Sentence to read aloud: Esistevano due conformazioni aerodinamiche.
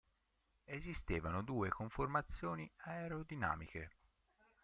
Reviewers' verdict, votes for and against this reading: rejected, 0, 2